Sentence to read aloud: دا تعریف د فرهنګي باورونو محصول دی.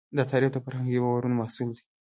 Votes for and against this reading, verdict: 2, 0, accepted